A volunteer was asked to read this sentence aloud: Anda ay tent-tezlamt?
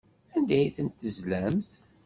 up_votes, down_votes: 2, 0